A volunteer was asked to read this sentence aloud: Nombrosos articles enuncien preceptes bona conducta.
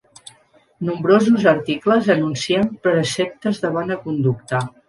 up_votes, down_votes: 1, 2